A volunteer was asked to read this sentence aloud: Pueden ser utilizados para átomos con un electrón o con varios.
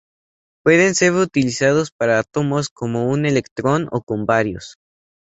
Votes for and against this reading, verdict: 0, 2, rejected